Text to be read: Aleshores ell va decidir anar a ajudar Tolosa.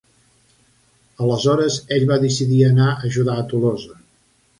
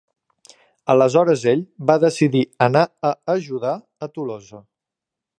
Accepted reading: first